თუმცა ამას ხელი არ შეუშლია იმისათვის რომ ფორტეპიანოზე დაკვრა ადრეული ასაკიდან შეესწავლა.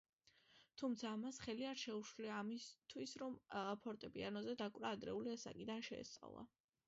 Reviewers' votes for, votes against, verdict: 0, 2, rejected